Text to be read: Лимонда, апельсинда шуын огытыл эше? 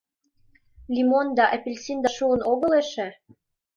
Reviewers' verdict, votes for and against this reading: rejected, 1, 2